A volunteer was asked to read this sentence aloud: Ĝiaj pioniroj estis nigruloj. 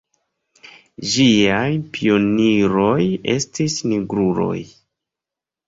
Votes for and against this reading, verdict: 2, 0, accepted